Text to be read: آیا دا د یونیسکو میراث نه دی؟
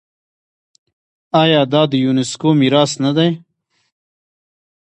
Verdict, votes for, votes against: accepted, 2, 0